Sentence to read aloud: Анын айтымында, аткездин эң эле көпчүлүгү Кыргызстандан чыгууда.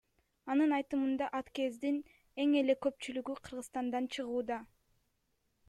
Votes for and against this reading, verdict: 2, 1, accepted